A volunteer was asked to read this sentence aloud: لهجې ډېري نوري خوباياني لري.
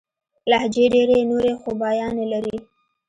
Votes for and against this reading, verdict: 2, 0, accepted